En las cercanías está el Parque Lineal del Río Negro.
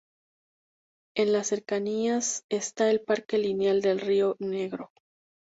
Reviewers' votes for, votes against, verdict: 2, 0, accepted